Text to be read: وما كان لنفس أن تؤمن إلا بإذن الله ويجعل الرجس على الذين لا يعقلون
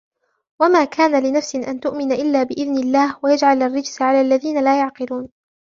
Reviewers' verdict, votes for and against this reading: rejected, 0, 3